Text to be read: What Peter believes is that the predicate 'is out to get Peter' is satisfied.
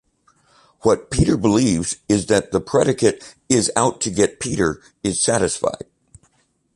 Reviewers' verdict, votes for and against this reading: accepted, 2, 0